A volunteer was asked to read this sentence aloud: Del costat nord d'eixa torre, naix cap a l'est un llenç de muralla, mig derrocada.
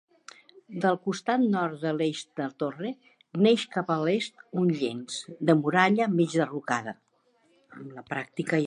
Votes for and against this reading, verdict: 0, 2, rejected